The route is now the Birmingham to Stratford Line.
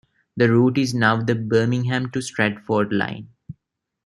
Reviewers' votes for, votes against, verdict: 2, 0, accepted